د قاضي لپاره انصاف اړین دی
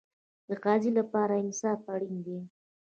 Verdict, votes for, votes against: rejected, 1, 2